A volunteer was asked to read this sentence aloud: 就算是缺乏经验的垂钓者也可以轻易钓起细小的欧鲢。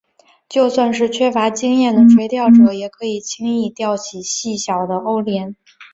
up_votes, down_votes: 2, 0